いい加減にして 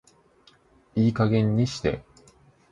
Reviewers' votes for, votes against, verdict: 2, 0, accepted